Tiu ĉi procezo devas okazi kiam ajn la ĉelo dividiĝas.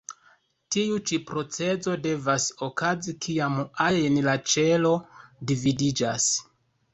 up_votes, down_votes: 2, 0